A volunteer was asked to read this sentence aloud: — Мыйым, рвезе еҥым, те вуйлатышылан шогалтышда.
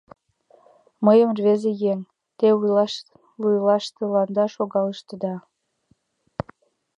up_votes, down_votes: 1, 2